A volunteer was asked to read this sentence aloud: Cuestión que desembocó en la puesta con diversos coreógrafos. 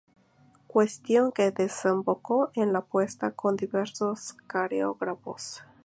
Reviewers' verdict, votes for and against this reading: accepted, 2, 0